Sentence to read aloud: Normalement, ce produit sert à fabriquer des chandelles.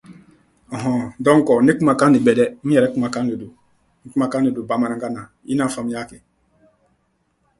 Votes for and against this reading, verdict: 1, 2, rejected